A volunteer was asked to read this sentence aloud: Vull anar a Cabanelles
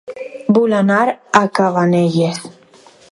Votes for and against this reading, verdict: 4, 0, accepted